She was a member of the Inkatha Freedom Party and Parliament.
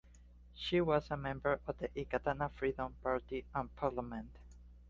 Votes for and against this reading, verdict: 0, 2, rejected